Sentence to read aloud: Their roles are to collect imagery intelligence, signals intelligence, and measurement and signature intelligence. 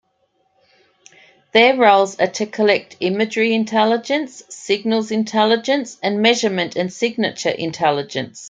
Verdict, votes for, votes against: accepted, 2, 0